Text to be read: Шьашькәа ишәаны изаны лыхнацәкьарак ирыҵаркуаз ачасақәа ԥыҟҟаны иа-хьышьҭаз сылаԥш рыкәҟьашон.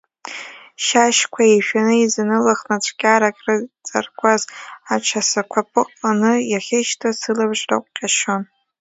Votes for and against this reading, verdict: 0, 2, rejected